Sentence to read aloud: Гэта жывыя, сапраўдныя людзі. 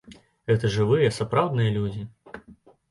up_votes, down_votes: 2, 0